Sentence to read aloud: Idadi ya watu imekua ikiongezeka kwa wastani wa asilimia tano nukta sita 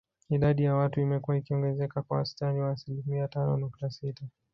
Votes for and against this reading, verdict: 3, 0, accepted